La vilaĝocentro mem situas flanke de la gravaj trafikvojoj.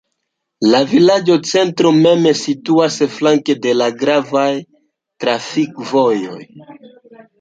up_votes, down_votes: 2, 0